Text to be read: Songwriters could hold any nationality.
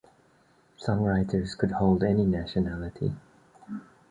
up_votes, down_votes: 2, 0